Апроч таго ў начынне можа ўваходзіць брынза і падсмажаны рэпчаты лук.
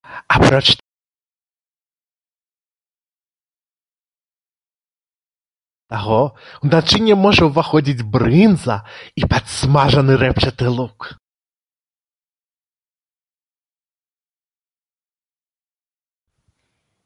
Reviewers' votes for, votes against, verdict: 0, 2, rejected